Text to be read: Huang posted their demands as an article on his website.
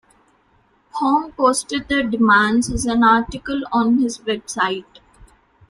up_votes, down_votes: 0, 2